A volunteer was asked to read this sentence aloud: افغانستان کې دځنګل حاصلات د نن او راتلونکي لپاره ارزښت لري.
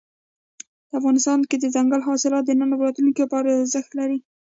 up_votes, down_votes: 2, 0